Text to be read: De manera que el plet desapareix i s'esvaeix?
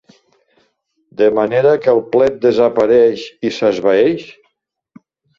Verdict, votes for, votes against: accepted, 2, 0